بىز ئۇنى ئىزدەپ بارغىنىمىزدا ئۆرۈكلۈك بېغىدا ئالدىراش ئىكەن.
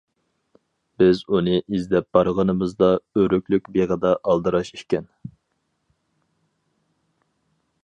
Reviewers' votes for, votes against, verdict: 4, 0, accepted